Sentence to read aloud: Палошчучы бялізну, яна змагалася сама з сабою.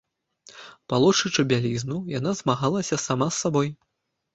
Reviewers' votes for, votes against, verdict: 1, 2, rejected